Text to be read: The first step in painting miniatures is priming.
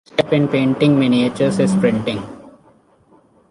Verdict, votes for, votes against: rejected, 0, 2